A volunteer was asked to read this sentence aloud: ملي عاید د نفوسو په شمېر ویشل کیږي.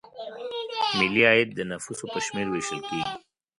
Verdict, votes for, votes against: rejected, 1, 2